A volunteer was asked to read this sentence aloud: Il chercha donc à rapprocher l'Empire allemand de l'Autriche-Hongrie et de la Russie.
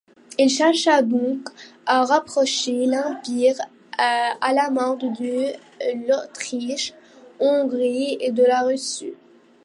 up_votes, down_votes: 0, 2